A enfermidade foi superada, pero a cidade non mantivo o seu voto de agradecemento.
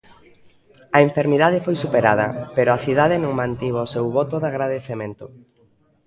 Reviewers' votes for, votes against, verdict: 0, 2, rejected